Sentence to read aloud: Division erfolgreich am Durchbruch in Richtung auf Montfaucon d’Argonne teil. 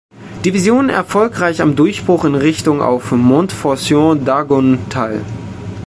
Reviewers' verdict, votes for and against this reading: rejected, 1, 3